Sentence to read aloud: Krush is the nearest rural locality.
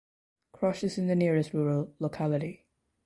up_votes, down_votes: 0, 2